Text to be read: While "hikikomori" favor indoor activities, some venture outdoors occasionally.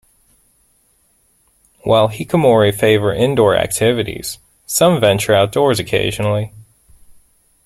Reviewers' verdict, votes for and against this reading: rejected, 0, 2